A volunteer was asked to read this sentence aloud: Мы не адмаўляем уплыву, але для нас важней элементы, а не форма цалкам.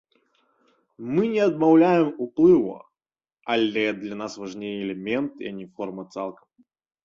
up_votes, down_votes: 2, 0